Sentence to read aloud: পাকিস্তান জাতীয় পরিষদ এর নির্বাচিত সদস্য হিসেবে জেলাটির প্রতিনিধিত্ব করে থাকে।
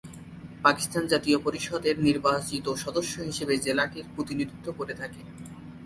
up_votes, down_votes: 0, 2